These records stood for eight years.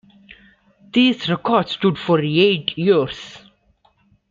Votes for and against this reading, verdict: 2, 0, accepted